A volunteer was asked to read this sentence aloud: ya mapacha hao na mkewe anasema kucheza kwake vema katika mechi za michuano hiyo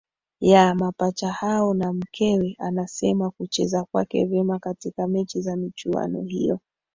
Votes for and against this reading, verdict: 2, 0, accepted